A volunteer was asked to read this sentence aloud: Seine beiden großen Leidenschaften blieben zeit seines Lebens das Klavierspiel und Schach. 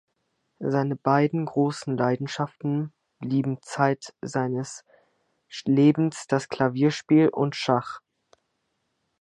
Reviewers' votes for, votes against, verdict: 0, 2, rejected